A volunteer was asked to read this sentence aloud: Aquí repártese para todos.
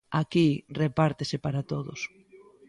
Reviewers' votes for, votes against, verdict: 2, 0, accepted